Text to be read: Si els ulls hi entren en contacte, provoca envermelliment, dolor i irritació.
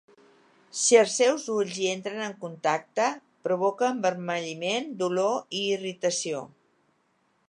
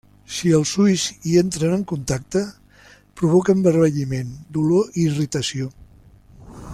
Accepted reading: second